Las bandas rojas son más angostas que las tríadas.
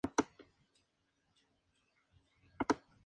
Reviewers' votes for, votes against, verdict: 0, 2, rejected